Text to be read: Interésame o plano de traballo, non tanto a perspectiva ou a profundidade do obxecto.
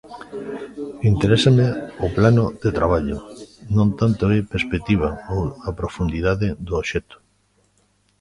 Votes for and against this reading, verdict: 0, 2, rejected